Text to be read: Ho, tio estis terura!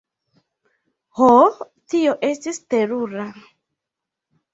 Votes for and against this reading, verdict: 2, 0, accepted